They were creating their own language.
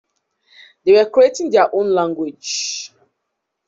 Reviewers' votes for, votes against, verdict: 0, 2, rejected